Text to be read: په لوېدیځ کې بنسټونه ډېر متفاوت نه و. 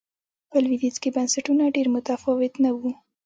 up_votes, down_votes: 1, 2